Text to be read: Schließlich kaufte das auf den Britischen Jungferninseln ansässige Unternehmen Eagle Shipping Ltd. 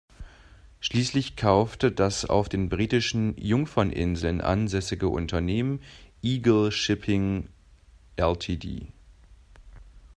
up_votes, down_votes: 1, 2